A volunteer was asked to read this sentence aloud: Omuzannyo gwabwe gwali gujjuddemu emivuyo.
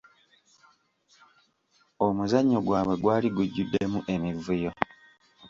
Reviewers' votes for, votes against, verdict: 2, 0, accepted